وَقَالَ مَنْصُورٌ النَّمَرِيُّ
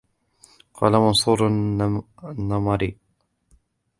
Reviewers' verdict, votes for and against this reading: rejected, 1, 2